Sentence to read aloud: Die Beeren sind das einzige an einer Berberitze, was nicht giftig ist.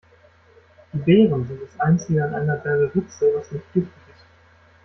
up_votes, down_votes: 0, 2